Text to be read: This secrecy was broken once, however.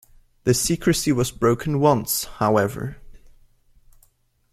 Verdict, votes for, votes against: accepted, 2, 1